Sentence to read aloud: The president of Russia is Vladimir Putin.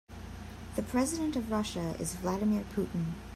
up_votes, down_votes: 2, 0